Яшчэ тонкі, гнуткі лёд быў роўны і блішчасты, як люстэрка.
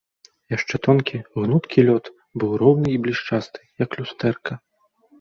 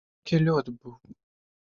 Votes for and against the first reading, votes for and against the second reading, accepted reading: 3, 0, 0, 2, first